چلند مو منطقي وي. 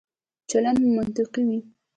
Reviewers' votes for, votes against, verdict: 2, 0, accepted